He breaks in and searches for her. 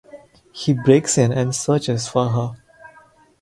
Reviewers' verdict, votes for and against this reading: rejected, 2, 2